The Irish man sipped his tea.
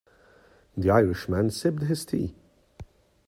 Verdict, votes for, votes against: accepted, 2, 0